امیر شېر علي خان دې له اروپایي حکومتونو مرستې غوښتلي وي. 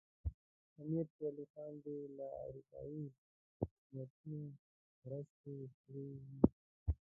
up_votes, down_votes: 0, 2